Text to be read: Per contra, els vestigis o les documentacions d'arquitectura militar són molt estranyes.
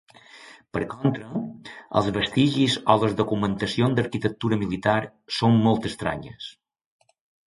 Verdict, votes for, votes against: rejected, 1, 2